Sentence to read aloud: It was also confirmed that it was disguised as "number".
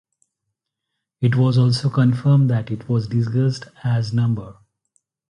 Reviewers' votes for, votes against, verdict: 0, 2, rejected